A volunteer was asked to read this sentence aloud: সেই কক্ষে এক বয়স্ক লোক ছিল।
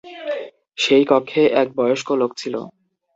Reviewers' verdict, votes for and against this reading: accepted, 2, 0